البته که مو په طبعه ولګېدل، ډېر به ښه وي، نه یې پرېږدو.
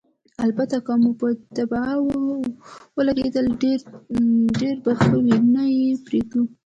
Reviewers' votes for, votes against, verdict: 2, 1, accepted